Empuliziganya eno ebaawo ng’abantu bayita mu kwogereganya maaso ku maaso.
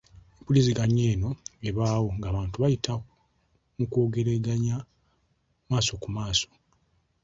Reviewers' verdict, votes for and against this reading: accepted, 2, 0